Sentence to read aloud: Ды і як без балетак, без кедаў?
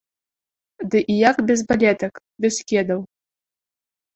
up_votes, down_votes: 2, 0